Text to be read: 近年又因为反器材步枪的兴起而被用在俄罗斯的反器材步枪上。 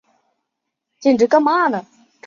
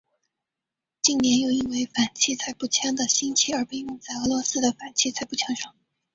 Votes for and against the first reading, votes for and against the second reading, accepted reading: 0, 2, 2, 0, second